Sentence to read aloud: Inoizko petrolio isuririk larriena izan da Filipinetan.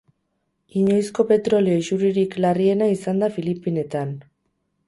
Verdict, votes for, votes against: rejected, 0, 4